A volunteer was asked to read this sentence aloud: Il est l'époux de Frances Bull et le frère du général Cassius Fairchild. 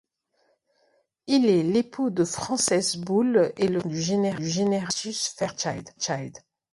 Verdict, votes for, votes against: rejected, 1, 2